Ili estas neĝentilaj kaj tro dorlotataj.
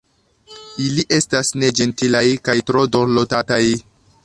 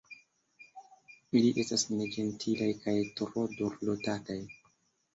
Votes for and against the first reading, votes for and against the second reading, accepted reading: 1, 2, 2, 1, second